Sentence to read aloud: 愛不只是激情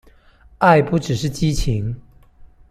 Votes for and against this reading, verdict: 2, 0, accepted